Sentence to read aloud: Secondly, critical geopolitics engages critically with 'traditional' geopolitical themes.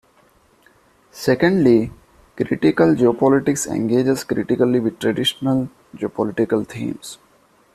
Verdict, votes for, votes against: accepted, 2, 0